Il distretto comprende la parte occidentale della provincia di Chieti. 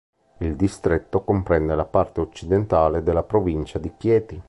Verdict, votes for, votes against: accepted, 2, 0